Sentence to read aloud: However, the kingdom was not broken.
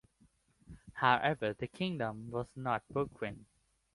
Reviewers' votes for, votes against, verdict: 3, 2, accepted